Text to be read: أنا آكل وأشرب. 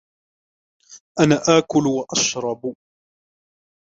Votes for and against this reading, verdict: 0, 2, rejected